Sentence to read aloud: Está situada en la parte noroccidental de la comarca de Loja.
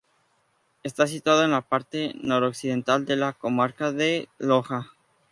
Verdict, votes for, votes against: accepted, 2, 0